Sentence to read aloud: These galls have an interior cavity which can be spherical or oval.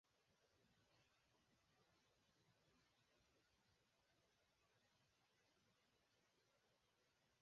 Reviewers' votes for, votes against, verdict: 2, 4, rejected